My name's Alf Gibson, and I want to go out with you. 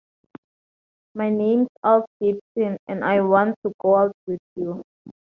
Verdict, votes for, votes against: accepted, 2, 0